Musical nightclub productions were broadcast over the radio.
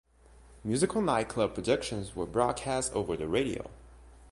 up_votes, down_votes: 2, 0